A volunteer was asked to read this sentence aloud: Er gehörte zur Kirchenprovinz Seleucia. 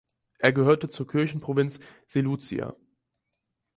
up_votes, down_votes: 2, 4